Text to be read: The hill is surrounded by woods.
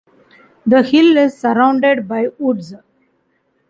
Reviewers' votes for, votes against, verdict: 2, 0, accepted